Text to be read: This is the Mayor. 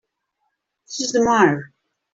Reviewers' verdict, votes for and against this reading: accepted, 2, 1